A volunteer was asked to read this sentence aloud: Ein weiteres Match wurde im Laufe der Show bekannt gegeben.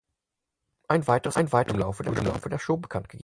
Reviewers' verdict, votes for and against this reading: rejected, 0, 4